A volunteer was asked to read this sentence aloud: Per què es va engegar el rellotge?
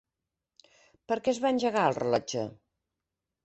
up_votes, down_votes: 3, 1